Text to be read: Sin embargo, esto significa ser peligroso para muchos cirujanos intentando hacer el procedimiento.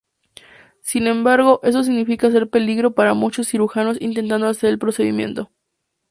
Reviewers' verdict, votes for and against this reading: rejected, 0, 2